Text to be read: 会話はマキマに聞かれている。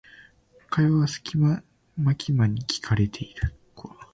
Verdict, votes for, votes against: rejected, 1, 2